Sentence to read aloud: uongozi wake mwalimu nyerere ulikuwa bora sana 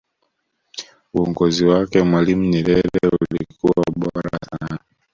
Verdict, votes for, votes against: rejected, 0, 2